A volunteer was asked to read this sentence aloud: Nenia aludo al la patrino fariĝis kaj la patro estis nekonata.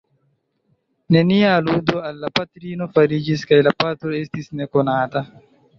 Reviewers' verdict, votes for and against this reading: rejected, 1, 2